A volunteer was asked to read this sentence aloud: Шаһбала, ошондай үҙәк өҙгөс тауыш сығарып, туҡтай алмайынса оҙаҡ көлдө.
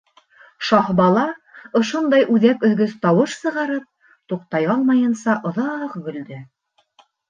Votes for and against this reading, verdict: 1, 2, rejected